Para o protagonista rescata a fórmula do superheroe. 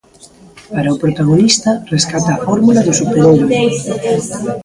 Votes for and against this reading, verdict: 0, 2, rejected